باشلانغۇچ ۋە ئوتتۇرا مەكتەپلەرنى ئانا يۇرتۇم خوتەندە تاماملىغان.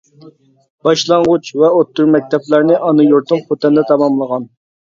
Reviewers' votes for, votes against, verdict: 2, 0, accepted